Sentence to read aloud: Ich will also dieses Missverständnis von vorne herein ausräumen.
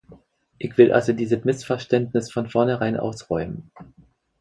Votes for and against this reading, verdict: 0, 4, rejected